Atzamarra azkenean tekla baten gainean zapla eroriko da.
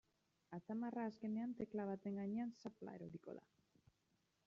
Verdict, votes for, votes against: accepted, 2, 0